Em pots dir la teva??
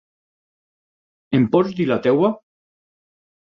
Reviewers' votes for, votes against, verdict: 2, 6, rejected